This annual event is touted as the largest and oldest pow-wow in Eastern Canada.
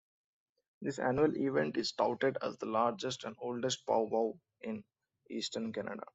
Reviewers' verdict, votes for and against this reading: accepted, 2, 0